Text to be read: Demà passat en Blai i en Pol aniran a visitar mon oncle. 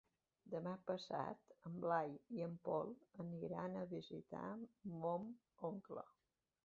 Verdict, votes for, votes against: rejected, 1, 2